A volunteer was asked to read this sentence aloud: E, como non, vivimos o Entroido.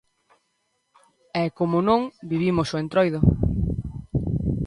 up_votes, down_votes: 2, 0